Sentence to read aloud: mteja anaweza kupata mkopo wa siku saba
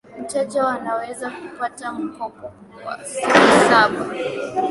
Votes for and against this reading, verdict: 1, 2, rejected